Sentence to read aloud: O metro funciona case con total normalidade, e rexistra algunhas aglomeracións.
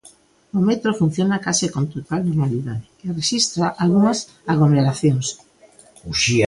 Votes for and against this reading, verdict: 0, 2, rejected